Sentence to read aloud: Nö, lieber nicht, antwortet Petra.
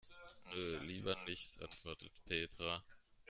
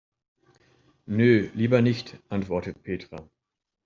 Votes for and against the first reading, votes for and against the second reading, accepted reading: 1, 2, 2, 0, second